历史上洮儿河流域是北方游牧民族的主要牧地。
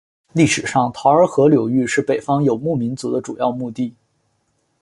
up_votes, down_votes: 2, 1